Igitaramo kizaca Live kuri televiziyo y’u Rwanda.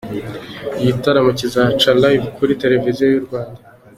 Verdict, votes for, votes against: accepted, 2, 0